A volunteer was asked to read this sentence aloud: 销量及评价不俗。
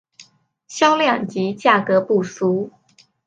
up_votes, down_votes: 3, 4